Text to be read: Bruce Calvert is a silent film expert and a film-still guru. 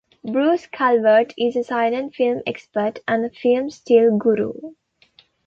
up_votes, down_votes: 2, 0